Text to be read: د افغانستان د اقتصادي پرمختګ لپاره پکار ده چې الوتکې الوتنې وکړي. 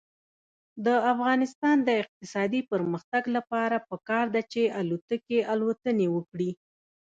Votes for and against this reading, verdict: 0, 2, rejected